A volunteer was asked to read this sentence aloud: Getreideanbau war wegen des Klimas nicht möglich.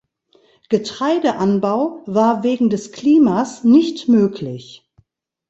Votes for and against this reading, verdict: 2, 0, accepted